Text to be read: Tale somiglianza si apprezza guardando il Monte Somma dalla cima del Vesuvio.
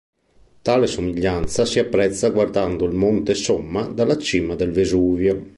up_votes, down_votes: 2, 0